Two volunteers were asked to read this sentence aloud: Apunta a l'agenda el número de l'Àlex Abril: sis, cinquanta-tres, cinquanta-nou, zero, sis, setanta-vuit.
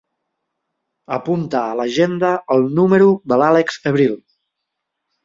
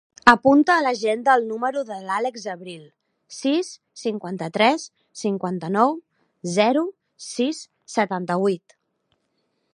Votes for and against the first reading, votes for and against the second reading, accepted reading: 0, 2, 2, 0, second